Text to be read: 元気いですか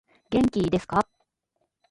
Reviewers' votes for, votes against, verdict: 0, 2, rejected